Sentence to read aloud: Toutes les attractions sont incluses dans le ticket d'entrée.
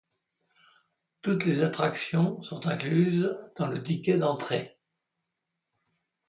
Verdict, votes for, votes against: accepted, 2, 0